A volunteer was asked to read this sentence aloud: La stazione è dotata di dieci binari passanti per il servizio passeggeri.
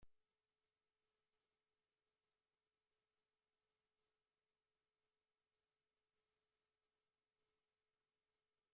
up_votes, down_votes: 0, 2